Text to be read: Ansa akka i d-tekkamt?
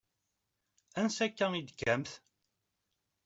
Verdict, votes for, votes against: accepted, 2, 0